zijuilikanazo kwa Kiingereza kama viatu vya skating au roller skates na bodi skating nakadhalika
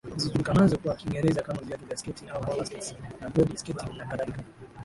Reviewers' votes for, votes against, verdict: 1, 7, rejected